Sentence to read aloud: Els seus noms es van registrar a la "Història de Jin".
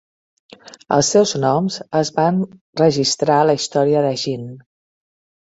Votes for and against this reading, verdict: 2, 0, accepted